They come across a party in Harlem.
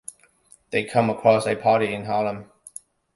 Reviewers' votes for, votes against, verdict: 2, 1, accepted